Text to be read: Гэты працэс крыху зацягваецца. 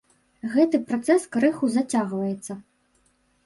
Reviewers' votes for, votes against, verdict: 1, 2, rejected